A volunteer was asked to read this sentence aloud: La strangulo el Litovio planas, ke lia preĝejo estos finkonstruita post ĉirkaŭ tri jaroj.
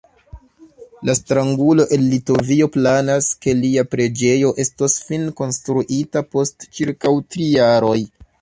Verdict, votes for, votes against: rejected, 0, 2